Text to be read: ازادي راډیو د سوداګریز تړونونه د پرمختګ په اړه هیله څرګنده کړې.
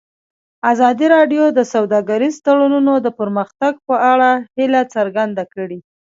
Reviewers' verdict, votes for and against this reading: accepted, 2, 1